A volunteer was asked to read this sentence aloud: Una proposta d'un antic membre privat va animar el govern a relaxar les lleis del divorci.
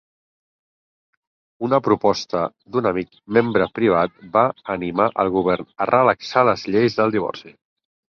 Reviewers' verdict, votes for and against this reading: rejected, 0, 4